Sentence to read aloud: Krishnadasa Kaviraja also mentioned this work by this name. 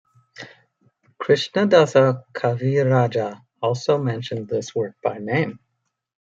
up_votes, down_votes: 0, 2